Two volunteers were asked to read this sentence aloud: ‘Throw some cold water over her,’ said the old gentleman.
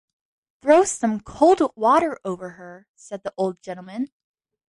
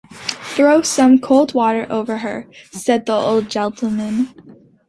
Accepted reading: first